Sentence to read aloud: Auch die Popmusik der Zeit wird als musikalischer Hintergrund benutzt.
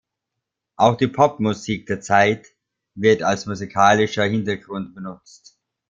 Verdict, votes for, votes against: accepted, 2, 0